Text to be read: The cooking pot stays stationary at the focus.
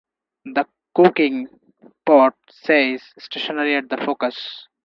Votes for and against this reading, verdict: 0, 2, rejected